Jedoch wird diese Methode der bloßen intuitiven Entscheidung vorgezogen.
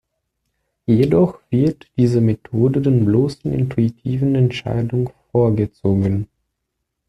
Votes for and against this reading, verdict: 0, 2, rejected